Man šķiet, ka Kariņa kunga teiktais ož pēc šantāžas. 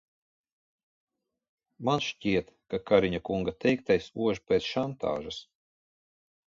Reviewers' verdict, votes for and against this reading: accepted, 2, 0